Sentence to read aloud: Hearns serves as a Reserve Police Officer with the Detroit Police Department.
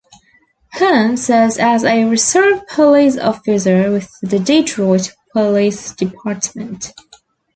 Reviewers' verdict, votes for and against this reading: accepted, 2, 1